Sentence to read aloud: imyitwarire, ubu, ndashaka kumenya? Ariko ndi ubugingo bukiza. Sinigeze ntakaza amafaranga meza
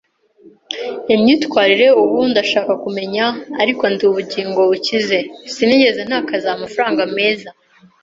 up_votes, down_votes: 1, 2